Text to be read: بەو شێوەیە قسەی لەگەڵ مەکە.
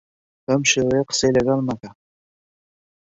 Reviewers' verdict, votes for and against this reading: accepted, 2, 0